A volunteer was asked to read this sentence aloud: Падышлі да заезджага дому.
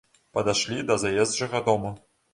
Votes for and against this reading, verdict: 0, 2, rejected